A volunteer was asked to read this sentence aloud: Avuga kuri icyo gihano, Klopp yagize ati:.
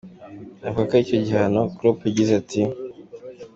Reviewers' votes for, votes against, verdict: 2, 1, accepted